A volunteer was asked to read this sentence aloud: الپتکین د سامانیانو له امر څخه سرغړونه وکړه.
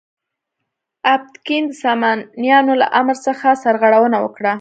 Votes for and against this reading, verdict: 0, 2, rejected